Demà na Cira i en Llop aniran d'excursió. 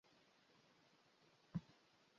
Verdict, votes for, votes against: rejected, 1, 2